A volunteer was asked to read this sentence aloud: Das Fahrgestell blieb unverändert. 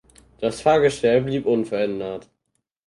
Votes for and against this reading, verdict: 4, 0, accepted